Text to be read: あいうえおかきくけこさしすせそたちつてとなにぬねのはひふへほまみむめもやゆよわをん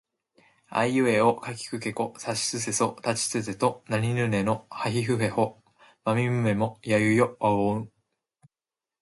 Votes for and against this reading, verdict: 2, 0, accepted